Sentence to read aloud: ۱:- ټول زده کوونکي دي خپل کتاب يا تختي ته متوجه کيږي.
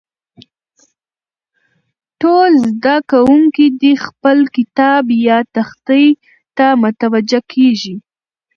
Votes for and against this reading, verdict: 0, 2, rejected